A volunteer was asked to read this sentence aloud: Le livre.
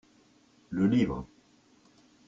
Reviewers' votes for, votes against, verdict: 2, 0, accepted